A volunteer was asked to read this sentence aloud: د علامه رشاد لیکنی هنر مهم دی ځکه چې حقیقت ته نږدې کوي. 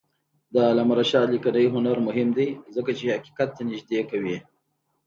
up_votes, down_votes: 2, 0